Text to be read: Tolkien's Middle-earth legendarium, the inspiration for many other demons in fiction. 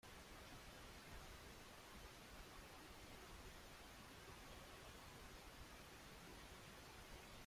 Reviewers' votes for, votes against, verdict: 0, 2, rejected